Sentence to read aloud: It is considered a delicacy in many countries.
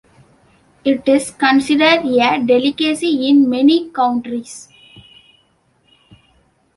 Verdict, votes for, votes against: rejected, 1, 2